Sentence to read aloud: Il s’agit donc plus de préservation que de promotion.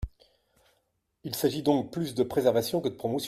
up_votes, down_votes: 0, 2